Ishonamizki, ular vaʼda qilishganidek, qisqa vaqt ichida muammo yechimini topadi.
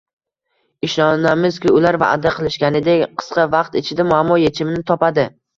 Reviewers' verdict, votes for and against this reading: accepted, 2, 0